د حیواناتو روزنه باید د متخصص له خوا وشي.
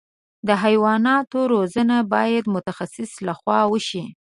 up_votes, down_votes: 2, 0